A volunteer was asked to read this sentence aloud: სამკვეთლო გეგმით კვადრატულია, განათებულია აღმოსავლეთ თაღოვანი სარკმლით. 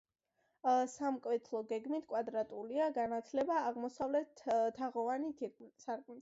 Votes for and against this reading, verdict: 0, 2, rejected